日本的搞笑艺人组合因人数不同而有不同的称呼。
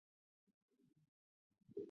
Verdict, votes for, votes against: rejected, 0, 2